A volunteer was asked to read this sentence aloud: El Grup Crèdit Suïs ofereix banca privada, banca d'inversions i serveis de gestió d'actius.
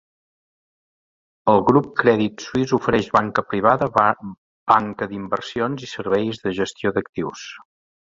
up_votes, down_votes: 1, 2